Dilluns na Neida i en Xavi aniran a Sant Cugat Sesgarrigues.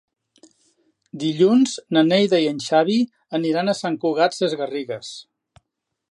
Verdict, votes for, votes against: accepted, 2, 0